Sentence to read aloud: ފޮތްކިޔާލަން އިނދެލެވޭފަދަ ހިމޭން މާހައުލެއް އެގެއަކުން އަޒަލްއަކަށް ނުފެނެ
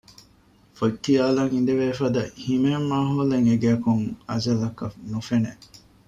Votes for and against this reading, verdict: 2, 0, accepted